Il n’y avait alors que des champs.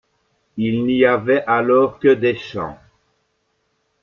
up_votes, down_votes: 2, 0